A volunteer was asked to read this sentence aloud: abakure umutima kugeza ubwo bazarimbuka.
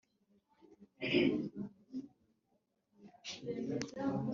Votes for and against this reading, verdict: 1, 2, rejected